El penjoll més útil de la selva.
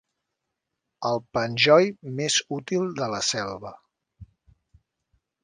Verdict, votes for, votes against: accepted, 3, 0